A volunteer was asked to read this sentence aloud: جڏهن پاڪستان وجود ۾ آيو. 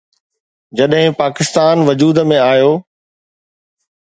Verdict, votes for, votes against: accepted, 2, 0